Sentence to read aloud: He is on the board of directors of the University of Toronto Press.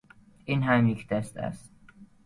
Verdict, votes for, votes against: rejected, 0, 2